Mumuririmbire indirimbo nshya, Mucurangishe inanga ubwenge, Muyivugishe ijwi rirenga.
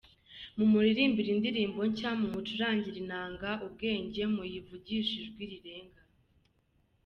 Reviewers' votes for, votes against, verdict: 2, 0, accepted